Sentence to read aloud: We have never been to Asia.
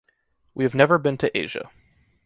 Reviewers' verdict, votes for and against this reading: accepted, 2, 0